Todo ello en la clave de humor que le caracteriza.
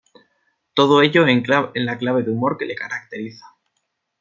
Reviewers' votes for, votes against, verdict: 0, 2, rejected